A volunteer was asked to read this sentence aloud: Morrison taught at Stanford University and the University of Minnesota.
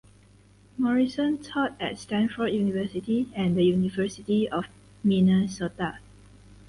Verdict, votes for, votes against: accepted, 4, 0